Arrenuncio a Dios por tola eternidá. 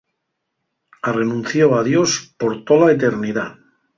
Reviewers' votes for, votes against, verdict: 2, 0, accepted